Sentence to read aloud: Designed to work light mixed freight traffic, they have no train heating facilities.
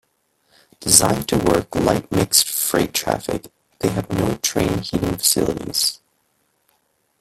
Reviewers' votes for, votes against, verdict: 2, 1, accepted